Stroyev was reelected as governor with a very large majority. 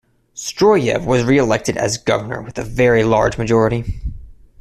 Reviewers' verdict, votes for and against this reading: accepted, 2, 0